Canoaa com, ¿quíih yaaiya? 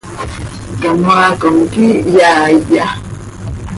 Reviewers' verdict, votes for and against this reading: accepted, 2, 0